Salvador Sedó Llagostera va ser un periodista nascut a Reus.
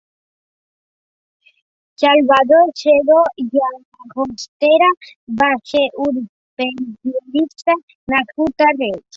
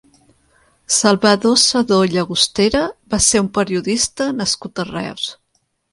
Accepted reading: second